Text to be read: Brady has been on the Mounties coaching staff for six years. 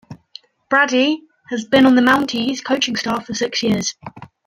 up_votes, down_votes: 2, 0